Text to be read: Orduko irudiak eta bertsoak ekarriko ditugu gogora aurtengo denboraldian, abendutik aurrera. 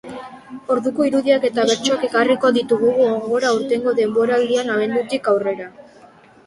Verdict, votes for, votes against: accepted, 4, 1